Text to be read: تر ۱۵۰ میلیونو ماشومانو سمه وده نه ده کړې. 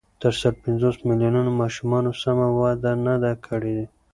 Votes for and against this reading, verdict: 0, 2, rejected